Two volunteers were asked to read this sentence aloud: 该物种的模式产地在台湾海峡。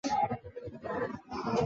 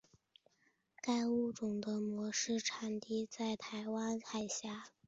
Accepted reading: second